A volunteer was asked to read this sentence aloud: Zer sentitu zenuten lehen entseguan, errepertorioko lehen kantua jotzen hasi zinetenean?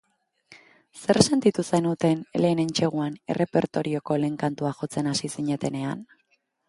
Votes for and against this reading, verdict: 2, 0, accepted